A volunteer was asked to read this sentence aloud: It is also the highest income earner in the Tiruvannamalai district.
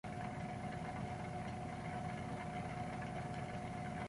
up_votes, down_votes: 0, 2